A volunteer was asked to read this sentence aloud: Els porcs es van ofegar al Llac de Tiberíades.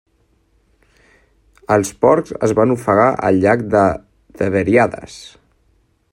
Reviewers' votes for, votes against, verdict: 1, 2, rejected